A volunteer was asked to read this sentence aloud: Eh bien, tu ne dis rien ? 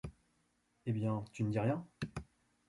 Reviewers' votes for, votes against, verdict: 2, 0, accepted